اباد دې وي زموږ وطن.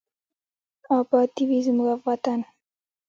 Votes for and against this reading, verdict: 2, 0, accepted